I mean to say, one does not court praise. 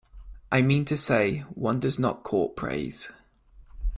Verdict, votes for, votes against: accepted, 2, 1